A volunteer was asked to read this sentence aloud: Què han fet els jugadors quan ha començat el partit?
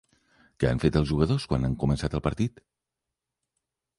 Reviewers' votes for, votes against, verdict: 2, 1, accepted